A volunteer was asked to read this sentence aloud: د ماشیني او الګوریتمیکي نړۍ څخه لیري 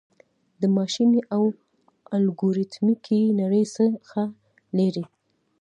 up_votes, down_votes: 2, 0